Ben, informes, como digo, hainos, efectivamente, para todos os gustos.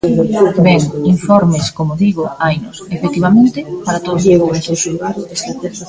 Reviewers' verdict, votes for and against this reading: rejected, 0, 2